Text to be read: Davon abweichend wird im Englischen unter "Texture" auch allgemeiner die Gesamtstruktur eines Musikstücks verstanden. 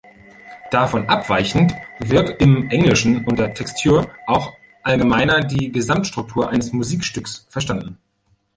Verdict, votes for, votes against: rejected, 1, 2